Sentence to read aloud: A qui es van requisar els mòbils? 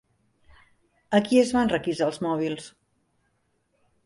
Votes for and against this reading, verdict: 3, 0, accepted